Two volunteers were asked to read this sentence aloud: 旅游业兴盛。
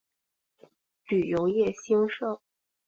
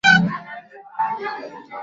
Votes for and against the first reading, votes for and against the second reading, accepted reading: 8, 0, 1, 3, first